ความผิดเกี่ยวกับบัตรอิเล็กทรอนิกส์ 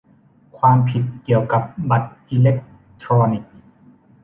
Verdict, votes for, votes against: accepted, 2, 0